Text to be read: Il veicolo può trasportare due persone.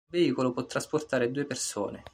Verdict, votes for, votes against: rejected, 1, 2